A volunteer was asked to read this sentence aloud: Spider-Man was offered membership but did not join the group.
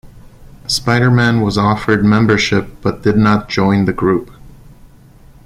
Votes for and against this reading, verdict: 2, 0, accepted